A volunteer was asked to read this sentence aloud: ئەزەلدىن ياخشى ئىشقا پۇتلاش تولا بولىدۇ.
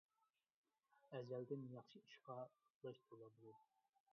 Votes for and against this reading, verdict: 0, 3, rejected